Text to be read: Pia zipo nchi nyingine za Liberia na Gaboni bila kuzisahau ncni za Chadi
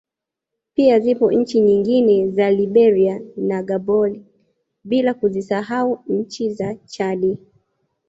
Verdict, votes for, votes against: rejected, 1, 2